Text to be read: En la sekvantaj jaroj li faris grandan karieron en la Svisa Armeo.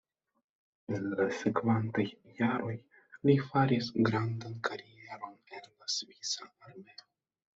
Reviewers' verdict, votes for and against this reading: rejected, 0, 2